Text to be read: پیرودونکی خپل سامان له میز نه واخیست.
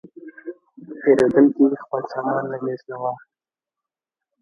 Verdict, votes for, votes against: rejected, 1, 2